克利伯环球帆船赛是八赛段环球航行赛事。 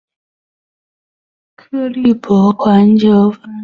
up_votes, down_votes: 2, 0